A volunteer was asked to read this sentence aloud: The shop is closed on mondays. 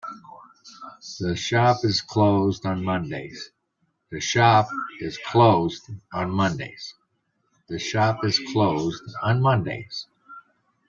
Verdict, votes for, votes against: rejected, 0, 2